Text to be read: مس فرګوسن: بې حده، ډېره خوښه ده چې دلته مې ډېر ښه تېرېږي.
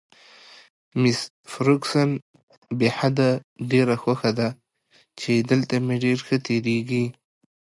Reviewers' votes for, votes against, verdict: 2, 0, accepted